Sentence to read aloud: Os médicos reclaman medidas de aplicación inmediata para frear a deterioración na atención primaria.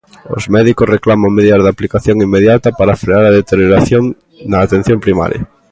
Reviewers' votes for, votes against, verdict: 2, 0, accepted